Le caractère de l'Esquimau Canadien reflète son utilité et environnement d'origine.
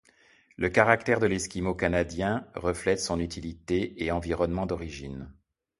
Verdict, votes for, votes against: accepted, 3, 0